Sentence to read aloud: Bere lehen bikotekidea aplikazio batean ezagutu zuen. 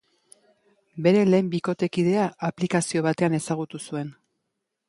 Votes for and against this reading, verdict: 2, 0, accepted